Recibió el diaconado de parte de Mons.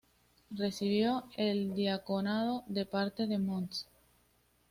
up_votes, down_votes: 2, 0